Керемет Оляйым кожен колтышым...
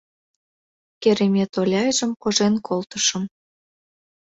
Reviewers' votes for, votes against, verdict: 0, 2, rejected